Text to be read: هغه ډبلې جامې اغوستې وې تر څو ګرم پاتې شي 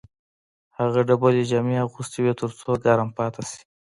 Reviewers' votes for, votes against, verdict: 0, 2, rejected